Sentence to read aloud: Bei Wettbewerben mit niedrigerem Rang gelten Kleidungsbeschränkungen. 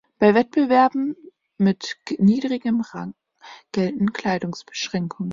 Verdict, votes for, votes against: rejected, 0, 2